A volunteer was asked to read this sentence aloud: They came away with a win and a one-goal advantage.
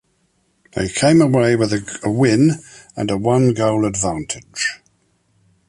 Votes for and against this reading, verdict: 2, 1, accepted